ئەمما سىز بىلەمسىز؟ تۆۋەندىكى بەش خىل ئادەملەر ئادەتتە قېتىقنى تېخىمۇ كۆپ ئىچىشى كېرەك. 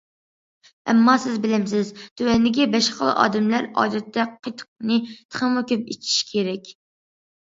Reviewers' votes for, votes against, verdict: 2, 0, accepted